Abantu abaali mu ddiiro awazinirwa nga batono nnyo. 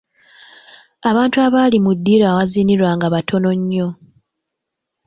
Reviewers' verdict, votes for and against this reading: accepted, 2, 0